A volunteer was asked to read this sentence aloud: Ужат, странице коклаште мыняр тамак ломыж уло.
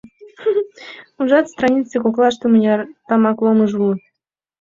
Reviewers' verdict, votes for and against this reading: accepted, 2, 0